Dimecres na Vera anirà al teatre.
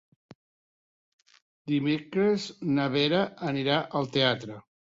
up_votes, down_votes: 3, 0